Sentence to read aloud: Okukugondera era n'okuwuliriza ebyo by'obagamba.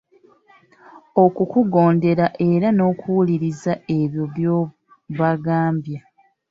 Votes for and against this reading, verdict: 2, 0, accepted